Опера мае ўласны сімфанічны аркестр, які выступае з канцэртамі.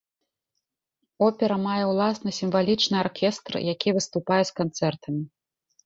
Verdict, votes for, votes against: rejected, 0, 2